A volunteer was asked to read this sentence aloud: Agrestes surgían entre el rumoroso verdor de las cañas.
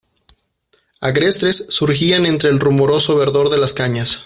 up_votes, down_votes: 0, 2